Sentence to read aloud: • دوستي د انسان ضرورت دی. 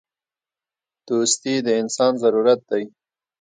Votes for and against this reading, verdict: 2, 0, accepted